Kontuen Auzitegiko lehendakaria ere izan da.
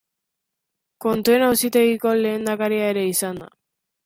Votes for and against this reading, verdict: 2, 0, accepted